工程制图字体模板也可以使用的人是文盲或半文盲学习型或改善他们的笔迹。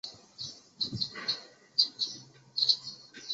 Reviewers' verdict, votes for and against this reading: rejected, 3, 4